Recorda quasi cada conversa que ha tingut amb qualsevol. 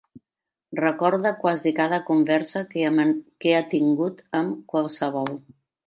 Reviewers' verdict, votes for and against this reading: rejected, 0, 2